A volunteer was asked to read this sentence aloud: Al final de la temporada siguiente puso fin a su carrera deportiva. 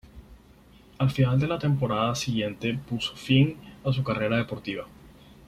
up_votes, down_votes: 6, 0